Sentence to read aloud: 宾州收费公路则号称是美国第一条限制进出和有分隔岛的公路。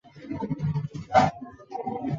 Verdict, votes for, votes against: rejected, 2, 3